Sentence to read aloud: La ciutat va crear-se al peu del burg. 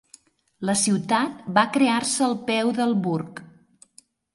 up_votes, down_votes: 5, 0